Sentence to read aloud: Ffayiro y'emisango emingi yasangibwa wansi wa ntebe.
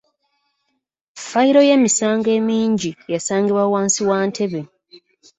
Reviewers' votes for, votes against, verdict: 2, 0, accepted